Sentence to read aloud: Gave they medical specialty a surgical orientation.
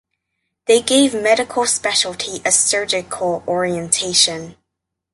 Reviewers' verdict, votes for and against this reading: rejected, 0, 2